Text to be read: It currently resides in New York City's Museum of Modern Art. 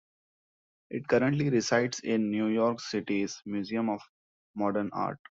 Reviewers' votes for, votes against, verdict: 2, 0, accepted